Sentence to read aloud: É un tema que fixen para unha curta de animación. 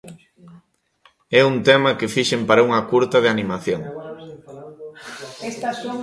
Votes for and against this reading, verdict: 2, 1, accepted